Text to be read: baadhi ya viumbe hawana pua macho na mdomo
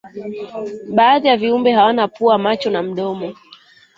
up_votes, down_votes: 3, 1